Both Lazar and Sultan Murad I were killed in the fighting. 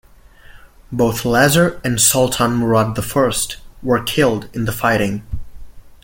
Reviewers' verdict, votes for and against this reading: rejected, 0, 2